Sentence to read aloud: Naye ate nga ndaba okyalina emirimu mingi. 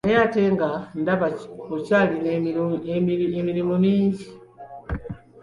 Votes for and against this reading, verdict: 1, 2, rejected